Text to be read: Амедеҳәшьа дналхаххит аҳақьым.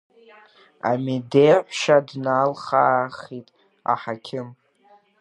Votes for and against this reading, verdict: 1, 2, rejected